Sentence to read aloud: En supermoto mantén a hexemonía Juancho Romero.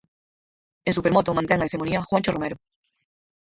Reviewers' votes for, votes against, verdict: 2, 4, rejected